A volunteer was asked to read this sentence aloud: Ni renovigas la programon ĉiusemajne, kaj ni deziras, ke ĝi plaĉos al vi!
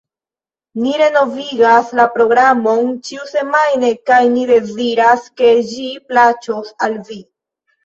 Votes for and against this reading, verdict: 1, 2, rejected